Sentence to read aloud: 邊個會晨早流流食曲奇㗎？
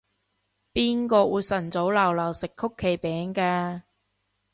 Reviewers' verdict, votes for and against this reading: rejected, 0, 2